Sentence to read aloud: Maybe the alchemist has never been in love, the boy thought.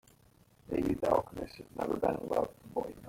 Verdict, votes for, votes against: rejected, 0, 3